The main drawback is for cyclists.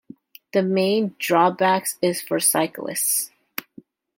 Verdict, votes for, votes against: rejected, 1, 2